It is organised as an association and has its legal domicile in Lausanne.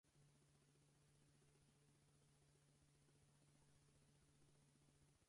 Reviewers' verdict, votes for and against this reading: rejected, 0, 4